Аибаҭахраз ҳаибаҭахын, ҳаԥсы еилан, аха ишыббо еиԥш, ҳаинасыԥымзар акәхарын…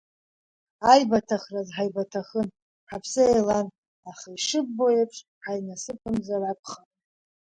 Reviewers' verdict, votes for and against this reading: rejected, 1, 2